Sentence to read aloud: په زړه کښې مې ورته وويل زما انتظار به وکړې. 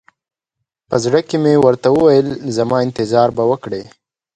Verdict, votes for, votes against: accepted, 2, 1